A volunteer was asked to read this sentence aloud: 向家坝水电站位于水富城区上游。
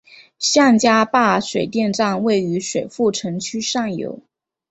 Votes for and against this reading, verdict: 4, 0, accepted